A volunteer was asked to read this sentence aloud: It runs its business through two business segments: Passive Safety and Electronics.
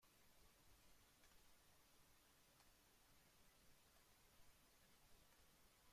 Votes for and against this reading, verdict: 0, 2, rejected